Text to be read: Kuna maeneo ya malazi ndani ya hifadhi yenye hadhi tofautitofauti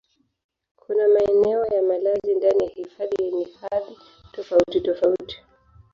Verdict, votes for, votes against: rejected, 1, 2